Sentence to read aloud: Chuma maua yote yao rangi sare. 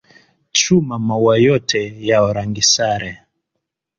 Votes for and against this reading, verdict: 2, 0, accepted